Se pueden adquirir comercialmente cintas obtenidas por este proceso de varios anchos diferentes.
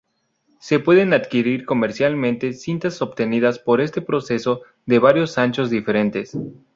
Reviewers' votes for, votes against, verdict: 0, 2, rejected